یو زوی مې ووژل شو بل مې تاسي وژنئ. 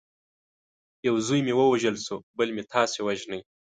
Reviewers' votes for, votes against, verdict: 2, 0, accepted